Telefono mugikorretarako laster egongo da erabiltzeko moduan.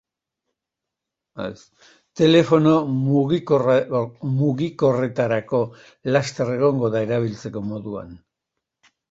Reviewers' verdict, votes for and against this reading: rejected, 0, 2